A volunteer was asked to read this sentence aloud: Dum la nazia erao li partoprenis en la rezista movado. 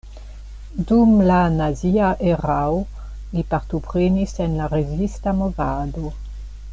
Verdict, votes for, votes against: accepted, 2, 0